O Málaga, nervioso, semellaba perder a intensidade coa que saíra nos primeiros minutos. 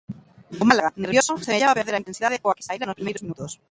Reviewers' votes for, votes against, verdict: 0, 2, rejected